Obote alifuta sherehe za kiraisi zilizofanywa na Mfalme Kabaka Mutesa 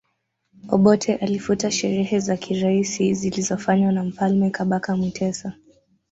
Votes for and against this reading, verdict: 2, 0, accepted